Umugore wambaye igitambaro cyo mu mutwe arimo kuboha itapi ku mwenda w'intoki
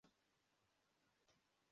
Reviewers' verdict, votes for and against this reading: rejected, 0, 2